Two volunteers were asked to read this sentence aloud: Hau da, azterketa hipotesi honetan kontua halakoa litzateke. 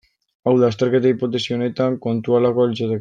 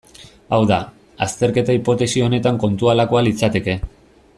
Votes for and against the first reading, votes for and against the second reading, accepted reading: 1, 2, 2, 1, second